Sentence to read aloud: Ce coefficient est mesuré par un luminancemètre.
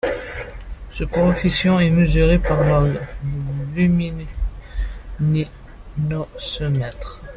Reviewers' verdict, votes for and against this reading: rejected, 0, 2